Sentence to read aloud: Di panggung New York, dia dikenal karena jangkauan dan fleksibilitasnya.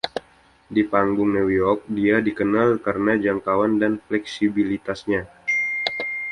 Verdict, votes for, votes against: accepted, 2, 0